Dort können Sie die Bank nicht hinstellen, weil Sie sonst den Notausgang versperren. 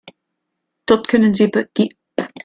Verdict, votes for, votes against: rejected, 0, 2